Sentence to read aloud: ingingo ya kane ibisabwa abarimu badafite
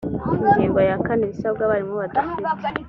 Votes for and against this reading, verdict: 2, 1, accepted